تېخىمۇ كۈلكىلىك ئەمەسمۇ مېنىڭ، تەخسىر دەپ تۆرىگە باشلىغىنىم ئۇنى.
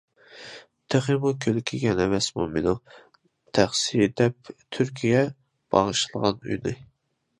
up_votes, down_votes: 0, 2